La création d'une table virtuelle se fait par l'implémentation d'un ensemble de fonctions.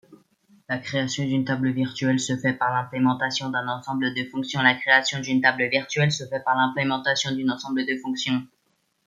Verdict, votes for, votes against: rejected, 0, 2